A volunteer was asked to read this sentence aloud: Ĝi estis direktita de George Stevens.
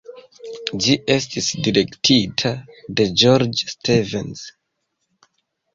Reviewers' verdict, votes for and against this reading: accepted, 2, 0